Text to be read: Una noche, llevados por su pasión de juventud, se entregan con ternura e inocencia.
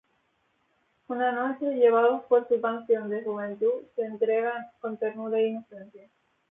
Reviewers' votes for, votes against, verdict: 0, 2, rejected